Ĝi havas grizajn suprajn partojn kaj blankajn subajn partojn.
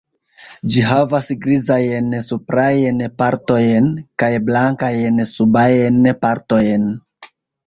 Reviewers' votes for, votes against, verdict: 0, 2, rejected